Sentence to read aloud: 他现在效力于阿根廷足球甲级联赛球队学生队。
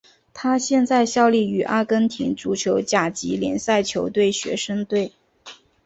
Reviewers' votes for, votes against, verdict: 5, 0, accepted